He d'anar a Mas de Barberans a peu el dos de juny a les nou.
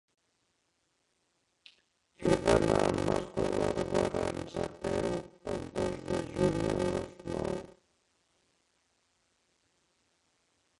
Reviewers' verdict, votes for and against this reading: rejected, 0, 2